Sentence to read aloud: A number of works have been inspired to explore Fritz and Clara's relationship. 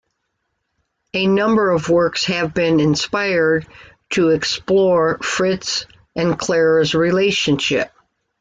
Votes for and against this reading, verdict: 2, 0, accepted